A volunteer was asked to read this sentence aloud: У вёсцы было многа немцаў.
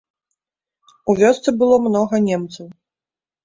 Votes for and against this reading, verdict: 3, 0, accepted